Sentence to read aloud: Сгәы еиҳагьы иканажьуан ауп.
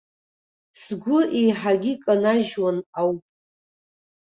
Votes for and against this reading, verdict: 2, 0, accepted